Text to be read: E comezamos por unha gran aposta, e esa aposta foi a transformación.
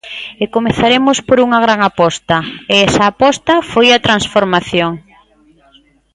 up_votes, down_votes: 0, 2